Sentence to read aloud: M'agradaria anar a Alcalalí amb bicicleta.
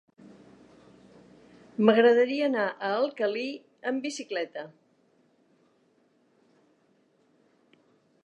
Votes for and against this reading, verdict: 1, 2, rejected